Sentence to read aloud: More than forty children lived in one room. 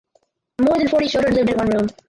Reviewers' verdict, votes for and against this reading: rejected, 0, 4